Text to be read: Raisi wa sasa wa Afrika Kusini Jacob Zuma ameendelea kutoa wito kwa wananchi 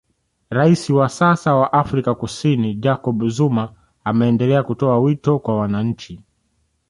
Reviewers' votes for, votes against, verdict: 1, 2, rejected